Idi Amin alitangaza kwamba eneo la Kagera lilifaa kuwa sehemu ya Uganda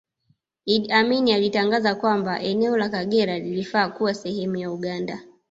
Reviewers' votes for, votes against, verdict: 2, 0, accepted